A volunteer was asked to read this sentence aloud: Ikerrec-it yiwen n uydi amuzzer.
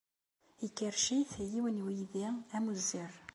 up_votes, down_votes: 2, 0